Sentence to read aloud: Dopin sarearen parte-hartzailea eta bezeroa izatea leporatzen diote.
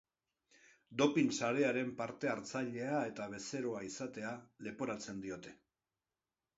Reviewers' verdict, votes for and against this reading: accepted, 2, 0